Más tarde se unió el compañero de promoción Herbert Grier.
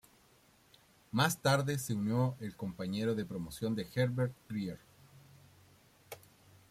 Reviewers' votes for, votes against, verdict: 0, 2, rejected